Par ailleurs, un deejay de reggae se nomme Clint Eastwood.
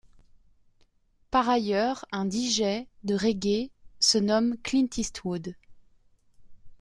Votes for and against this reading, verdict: 2, 0, accepted